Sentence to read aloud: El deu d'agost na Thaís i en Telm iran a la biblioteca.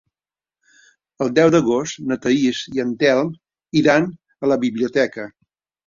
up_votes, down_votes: 3, 0